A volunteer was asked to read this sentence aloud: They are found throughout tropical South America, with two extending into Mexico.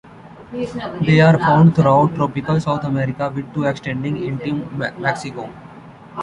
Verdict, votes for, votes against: rejected, 0, 2